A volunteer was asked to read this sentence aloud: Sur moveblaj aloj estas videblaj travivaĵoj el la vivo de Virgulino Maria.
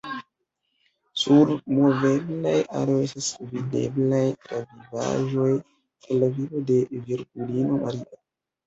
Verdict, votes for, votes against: rejected, 0, 2